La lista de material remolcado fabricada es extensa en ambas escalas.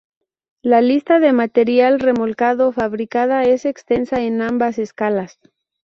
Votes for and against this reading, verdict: 2, 0, accepted